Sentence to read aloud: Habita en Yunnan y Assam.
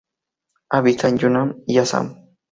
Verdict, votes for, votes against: accepted, 4, 0